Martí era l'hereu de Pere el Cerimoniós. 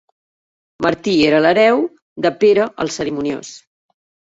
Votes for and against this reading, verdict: 3, 0, accepted